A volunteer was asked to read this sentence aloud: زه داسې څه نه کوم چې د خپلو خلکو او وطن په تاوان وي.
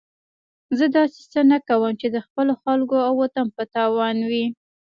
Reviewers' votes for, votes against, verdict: 1, 2, rejected